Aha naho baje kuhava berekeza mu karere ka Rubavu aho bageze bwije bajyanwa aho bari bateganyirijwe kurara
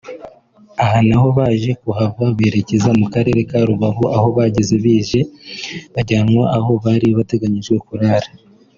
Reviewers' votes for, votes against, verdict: 2, 1, accepted